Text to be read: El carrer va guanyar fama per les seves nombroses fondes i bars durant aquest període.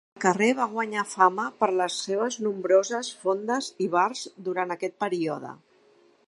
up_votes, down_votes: 0, 2